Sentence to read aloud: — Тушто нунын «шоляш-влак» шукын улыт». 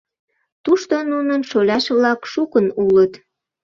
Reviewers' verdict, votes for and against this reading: accepted, 2, 0